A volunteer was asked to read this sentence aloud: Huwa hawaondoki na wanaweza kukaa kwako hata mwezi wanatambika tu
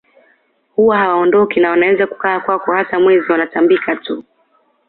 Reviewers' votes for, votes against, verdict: 2, 0, accepted